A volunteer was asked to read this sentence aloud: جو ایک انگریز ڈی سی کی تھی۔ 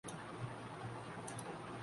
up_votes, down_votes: 0, 2